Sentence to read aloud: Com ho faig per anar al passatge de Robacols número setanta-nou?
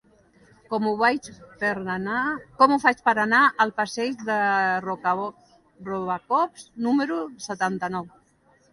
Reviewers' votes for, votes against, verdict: 0, 2, rejected